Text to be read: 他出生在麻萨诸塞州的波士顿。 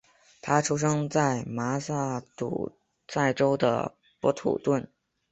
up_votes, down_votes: 0, 5